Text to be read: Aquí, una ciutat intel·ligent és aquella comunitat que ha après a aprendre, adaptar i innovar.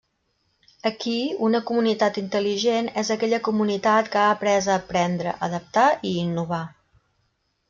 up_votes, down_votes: 0, 2